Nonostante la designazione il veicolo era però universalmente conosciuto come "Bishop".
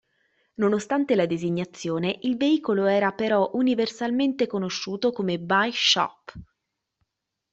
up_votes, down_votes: 0, 2